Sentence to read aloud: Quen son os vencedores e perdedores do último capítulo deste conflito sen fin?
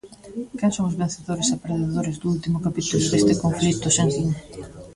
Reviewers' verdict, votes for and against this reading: rejected, 1, 2